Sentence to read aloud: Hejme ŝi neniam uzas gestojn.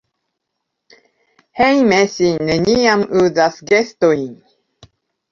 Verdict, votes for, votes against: rejected, 0, 2